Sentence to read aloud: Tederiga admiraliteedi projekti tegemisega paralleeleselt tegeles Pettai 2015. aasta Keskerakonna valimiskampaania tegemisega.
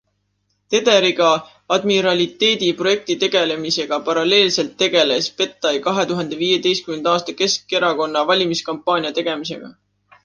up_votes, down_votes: 0, 2